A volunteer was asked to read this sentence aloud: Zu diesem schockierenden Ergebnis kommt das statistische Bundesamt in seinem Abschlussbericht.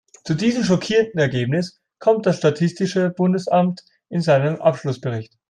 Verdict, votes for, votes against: accepted, 2, 0